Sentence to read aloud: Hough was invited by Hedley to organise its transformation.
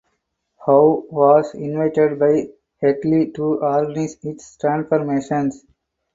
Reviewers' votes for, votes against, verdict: 0, 4, rejected